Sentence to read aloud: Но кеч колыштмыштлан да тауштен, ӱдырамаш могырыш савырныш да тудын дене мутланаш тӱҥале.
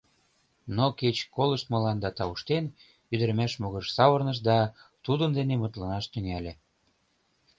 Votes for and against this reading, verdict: 1, 2, rejected